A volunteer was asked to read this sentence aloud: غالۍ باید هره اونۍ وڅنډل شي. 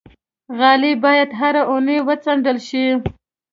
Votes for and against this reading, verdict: 2, 0, accepted